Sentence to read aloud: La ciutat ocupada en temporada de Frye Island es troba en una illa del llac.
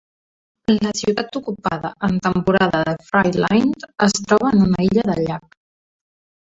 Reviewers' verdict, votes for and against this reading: rejected, 1, 2